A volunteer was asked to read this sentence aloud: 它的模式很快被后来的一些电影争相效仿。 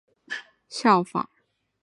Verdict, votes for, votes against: rejected, 0, 3